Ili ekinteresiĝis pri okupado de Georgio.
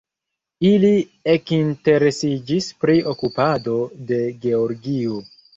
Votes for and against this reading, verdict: 1, 2, rejected